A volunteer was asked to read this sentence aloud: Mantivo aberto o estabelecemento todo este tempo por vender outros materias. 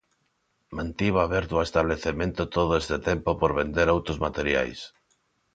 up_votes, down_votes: 0, 2